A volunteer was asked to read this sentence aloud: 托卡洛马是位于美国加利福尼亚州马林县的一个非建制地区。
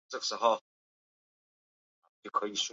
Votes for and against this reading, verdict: 0, 2, rejected